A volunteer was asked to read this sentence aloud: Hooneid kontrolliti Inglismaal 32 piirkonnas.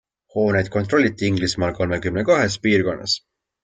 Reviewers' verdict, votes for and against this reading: rejected, 0, 2